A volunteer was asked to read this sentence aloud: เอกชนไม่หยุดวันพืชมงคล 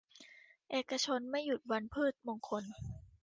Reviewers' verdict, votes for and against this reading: accepted, 2, 0